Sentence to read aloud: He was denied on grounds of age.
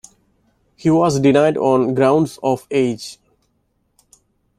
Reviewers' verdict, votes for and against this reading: accepted, 2, 0